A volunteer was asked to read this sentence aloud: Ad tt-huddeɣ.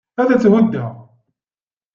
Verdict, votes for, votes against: accepted, 2, 0